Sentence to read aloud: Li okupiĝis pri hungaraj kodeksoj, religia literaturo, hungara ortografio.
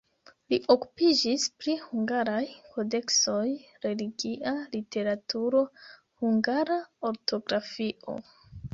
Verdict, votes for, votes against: rejected, 0, 2